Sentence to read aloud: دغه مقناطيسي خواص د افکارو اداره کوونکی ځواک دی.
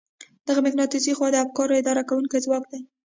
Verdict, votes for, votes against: accepted, 2, 0